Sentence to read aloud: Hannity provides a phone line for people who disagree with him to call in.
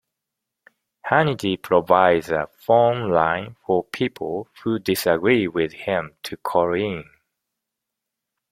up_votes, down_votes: 2, 0